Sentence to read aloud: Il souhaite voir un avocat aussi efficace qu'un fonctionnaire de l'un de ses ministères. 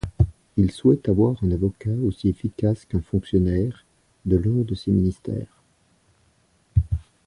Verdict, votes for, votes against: rejected, 1, 2